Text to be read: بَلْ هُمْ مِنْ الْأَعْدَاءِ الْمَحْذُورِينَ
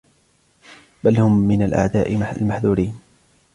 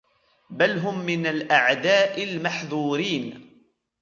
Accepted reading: first